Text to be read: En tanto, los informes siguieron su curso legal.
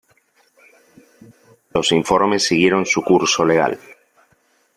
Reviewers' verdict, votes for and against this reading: rejected, 0, 4